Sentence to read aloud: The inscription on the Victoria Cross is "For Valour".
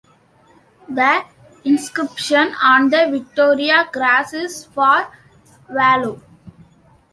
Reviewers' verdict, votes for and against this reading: rejected, 1, 2